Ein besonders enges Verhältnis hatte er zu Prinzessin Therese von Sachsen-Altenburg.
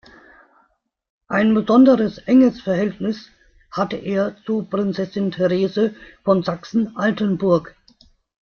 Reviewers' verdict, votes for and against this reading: rejected, 0, 2